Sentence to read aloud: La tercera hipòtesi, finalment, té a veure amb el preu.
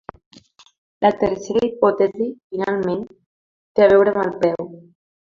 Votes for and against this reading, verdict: 0, 2, rejected